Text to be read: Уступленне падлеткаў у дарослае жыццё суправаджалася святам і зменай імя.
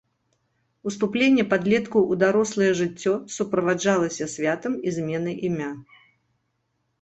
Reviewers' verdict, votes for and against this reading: accepted, 2, 0